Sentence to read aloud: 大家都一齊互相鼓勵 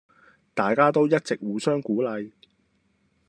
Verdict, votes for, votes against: rejected, 1, 2